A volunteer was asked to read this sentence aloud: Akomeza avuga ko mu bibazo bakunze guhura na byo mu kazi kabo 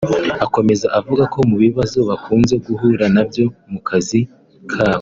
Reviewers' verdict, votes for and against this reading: accepted, 3, 1